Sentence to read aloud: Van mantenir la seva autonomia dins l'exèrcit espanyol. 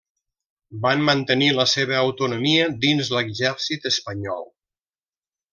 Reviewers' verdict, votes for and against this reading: accepted, 3, 0